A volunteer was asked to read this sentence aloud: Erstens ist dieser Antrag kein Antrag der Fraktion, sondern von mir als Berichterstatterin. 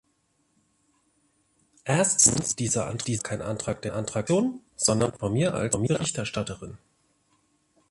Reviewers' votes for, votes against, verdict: 0, 2, rejected